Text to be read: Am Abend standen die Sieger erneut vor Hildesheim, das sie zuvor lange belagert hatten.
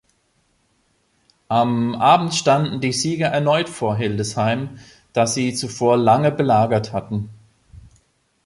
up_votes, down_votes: 2, 0